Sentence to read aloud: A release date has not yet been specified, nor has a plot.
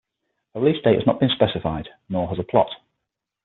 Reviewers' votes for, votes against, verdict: 3, 6, rejected